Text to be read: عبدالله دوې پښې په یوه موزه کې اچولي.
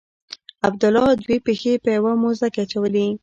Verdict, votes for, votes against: rejected, 1, 2